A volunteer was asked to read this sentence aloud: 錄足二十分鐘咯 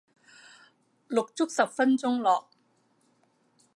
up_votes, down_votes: 0, 2